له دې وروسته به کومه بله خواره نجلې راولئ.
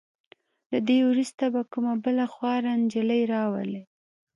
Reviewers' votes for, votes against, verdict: 2, 0, accepted